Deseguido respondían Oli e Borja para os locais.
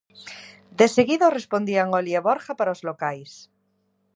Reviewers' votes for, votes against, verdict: 2, 0, accepted